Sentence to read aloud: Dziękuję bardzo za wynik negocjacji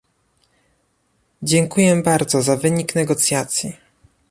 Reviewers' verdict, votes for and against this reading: accepted, 2, 0